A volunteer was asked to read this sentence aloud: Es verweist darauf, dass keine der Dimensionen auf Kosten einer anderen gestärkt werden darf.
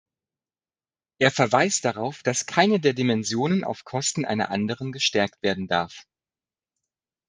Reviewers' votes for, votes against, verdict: 0, 2, rejected